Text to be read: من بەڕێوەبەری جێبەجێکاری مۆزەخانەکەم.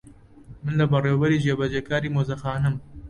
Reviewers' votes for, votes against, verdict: 0, 2, rejected